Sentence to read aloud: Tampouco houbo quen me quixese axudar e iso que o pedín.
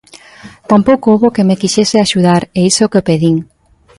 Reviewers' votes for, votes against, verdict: 2, 0, accepted